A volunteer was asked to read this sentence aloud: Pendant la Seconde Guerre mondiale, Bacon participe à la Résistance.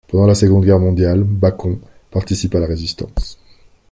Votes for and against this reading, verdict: 3, 0, accepted